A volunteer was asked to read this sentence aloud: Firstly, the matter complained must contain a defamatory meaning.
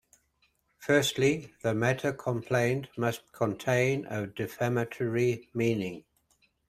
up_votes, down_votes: 2, 0